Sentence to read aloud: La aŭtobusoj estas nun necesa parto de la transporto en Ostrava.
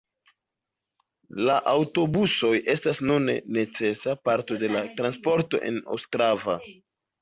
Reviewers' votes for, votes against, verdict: 2, 0, accepted